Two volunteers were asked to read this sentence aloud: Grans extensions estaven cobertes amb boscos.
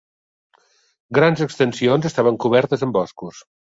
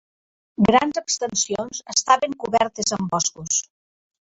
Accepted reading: first